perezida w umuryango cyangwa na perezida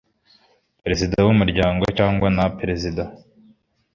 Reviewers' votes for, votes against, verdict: 2, 0, accepted